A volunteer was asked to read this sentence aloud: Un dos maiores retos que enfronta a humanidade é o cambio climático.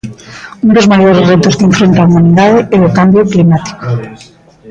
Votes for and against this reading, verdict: 2, 0, accepted